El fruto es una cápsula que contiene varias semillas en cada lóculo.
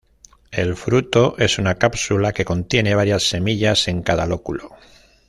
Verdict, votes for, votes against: accepted, 2, 0